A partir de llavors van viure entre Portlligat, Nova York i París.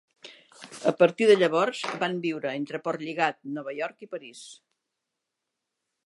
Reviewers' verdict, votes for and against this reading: accepted, 2, 0